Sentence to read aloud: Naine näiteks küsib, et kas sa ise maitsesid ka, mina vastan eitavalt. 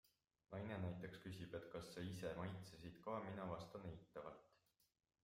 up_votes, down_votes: 1, 2